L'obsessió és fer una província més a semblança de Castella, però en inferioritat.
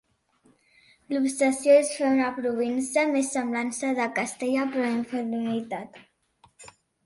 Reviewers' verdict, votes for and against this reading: rejected, 0, 2